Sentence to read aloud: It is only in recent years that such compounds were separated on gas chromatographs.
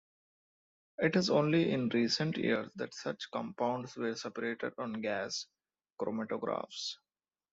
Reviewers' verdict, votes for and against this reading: accepted, 2, 0